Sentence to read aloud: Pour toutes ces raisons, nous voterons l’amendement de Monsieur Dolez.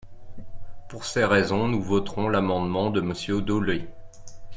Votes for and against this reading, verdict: 0, 2, rejected